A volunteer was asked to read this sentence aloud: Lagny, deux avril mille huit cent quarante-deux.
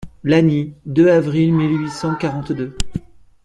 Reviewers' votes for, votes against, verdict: 2, 0, accepted